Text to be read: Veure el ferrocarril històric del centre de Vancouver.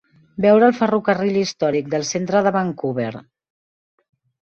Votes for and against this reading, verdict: 2, 0, accepted